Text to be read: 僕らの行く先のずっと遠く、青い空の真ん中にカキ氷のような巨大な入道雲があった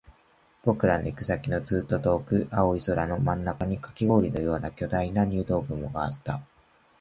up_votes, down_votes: 2, 0